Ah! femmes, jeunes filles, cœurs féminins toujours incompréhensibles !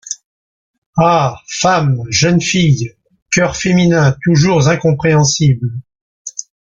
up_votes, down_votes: 2, 0